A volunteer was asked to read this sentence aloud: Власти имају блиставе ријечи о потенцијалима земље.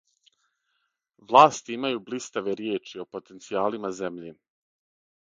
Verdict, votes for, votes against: accepted, 6, 0